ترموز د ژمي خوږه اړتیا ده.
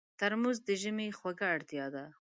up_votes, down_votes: 2, 0